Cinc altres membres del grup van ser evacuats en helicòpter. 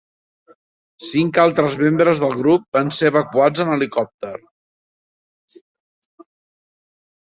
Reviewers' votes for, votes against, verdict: 3, 0, accepted